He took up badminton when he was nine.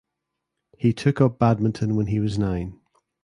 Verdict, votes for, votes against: accepted, 2, 0